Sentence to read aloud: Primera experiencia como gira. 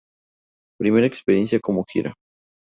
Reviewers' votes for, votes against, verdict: 2, 0, accepted